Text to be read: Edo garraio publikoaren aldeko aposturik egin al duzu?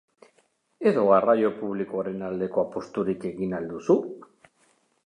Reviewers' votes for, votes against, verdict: 2, 0, accepted